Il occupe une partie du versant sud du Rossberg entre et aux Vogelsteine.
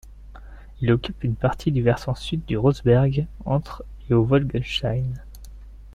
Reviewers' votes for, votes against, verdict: 1, 2, rejected